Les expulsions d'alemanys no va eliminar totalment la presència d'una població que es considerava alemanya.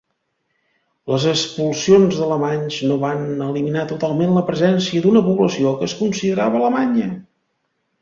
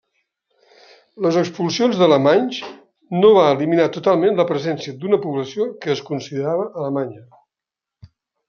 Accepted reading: second